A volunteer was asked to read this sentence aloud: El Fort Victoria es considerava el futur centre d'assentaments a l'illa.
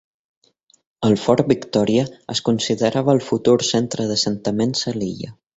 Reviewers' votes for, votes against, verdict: 2, 0, accepted